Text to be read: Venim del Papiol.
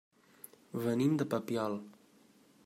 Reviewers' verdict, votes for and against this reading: rejected, 1, 2